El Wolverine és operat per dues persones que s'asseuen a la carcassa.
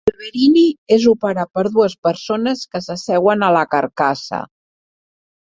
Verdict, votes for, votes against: rejected, 2, 3